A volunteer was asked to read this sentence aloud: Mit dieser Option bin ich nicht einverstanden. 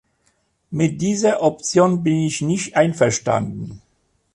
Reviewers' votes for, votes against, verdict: 3, 0, accepted